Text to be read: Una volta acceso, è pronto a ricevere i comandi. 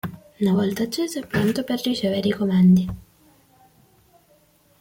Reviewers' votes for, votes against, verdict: 0, 2, rejected